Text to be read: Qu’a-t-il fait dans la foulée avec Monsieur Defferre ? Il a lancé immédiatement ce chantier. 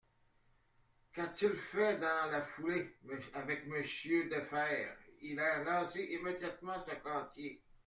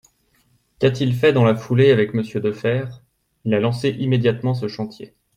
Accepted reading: second